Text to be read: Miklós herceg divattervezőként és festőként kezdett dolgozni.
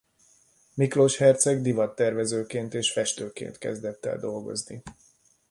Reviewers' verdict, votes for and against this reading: rejected, 0, 2